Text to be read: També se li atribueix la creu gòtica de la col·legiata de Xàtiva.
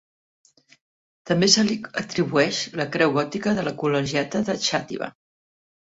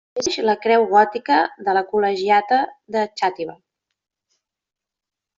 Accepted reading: first